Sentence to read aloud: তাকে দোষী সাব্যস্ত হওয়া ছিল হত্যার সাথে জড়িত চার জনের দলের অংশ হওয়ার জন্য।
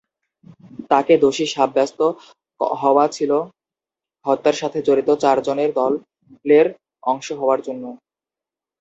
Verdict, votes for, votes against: rejected, 0, 2